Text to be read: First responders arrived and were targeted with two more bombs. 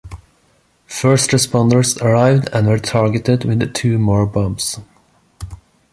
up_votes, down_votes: 0, 2